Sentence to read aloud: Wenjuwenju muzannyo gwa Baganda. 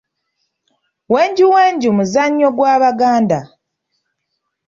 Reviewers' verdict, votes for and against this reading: accepted, 2, 0